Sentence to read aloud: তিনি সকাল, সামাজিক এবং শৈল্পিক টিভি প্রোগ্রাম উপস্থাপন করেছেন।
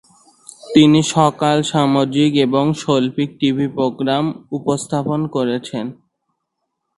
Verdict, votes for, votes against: accepted, 2, 0